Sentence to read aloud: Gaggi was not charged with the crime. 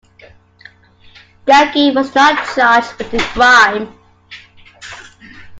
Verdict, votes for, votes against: rejected, 1, 2